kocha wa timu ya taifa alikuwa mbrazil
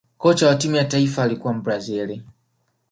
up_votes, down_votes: 1, 2